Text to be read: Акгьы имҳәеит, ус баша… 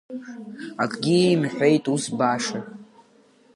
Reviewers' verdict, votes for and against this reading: accepted, 2, 0